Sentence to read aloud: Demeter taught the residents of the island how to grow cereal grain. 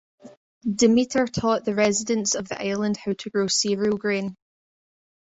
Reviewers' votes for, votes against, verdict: 0, 2, rejected